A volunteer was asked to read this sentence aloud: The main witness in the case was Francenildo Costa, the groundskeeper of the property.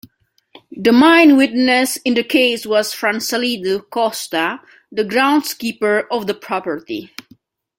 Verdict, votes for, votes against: rejected, 0, 2